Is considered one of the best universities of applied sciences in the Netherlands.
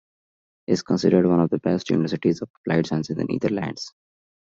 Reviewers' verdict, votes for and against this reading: accepted, 2, 1